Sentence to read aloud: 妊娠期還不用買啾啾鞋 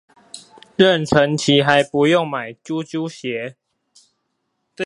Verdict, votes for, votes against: accepted, 4, 0